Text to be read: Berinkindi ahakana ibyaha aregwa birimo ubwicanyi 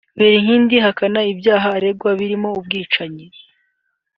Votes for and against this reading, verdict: 3, 1, accepted